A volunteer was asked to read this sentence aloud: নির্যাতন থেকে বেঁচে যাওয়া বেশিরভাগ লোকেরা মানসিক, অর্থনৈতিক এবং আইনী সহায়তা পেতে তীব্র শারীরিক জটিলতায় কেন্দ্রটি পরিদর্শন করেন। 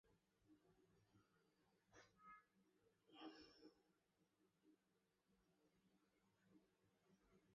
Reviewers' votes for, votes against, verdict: 0, 2, rejected